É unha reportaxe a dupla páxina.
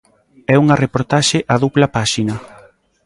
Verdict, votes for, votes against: accepted, 2, 0